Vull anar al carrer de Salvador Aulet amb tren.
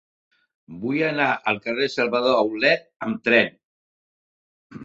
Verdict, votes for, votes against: rejected, 1, 2